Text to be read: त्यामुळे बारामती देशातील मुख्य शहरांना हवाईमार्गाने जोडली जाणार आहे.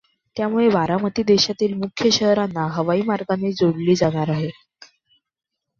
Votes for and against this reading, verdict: 2, 1, accepted